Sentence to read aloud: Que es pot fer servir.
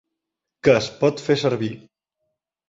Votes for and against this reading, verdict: 2, 0, accepted